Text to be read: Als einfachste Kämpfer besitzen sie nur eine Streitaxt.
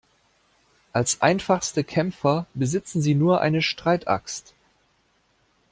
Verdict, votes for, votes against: accepted, 2, 0